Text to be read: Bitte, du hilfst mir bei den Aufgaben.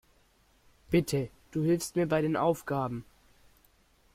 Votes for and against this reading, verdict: 2, 0, accepted